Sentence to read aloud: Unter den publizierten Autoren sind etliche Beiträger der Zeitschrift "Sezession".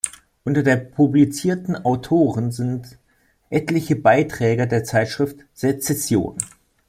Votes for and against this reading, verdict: 1, 2, rejected